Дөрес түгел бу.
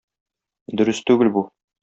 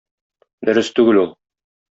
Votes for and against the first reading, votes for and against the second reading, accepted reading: 2, 0, 1, 2, first